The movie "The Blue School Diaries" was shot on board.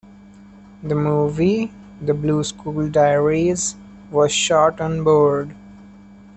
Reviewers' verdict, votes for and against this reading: accepted, 2, 1